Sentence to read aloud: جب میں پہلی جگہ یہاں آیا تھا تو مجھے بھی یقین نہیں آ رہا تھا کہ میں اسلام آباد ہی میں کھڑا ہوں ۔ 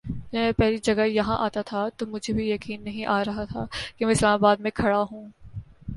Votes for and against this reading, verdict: 0, 2, rejected